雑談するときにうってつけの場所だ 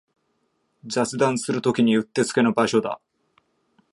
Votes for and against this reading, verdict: 2, 0, accepted